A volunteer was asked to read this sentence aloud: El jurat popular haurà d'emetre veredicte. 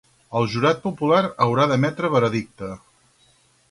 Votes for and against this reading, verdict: 2, 2, rejected